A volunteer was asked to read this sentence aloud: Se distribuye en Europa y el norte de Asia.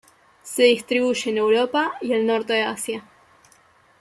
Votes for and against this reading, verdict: 2, 1, accepted